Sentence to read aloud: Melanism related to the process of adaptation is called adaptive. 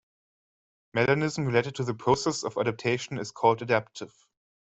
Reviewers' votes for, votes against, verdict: 2, 0, accepted